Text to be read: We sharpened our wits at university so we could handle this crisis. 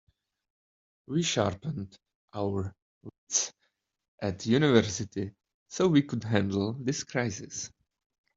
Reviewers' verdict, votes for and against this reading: rejected, 1, 2